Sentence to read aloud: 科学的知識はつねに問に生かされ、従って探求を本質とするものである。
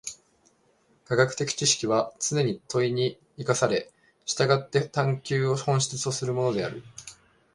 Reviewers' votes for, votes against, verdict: 2, 0, accepted